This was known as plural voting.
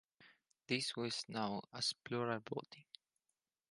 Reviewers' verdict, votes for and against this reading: accepted, 4, 0